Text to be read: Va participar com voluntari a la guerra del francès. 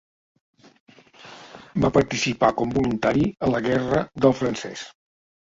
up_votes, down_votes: 2, 0